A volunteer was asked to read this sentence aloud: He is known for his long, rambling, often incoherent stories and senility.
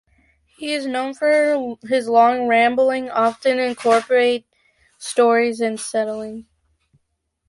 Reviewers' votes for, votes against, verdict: 0, 2, rejected